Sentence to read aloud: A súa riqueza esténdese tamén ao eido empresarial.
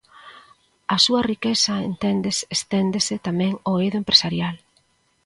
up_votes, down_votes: 0, 2